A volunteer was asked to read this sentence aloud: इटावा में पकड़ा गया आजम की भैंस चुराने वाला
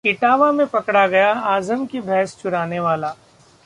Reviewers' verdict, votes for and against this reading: accepted, 2, 0